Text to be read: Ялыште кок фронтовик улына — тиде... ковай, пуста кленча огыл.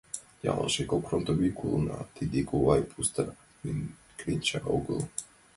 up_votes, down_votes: 0, 2